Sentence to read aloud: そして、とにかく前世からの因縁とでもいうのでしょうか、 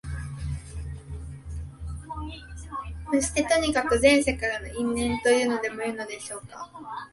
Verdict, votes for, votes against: rejected, 1, 2